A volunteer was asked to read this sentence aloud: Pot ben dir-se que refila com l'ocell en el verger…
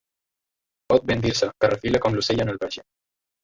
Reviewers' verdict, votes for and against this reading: rejected, 0, 2